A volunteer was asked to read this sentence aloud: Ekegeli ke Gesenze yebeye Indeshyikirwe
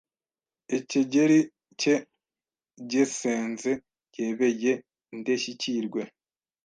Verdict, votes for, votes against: rejected, 1, 2